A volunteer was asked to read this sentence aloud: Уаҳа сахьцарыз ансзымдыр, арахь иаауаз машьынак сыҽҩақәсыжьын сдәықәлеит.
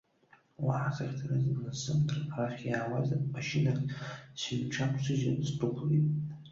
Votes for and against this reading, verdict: 2, 0, accepted